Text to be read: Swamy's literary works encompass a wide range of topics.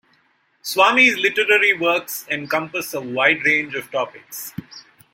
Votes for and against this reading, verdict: 1, 3, rejected